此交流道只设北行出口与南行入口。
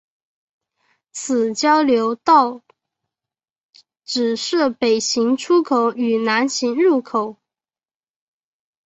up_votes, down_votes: 0, 2